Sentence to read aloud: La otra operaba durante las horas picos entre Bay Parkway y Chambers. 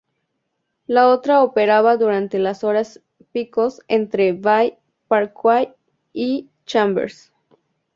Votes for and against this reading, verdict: 2, 0, accepted